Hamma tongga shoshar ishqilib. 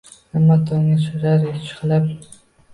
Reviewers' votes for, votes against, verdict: 0, 2, rejected